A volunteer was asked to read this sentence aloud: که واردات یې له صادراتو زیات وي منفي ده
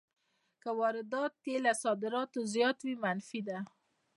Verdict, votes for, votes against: accepted, 2, 0